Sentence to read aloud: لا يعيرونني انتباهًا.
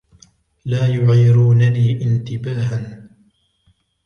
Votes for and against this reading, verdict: 2, 0, accepted